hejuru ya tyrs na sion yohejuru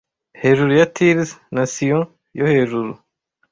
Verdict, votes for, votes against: accepted, 2, 0